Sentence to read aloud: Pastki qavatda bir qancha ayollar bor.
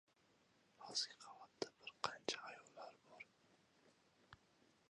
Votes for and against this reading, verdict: 1, 3, rejected